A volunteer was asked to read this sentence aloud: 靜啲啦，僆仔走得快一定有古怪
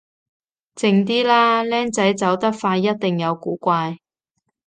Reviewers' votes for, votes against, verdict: 2, 0, accepted